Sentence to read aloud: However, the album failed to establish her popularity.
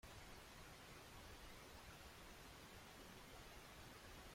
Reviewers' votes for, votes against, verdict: 0, 2, rejected